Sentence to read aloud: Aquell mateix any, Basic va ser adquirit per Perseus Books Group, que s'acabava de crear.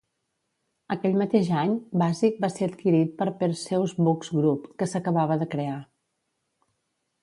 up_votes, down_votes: 2, 0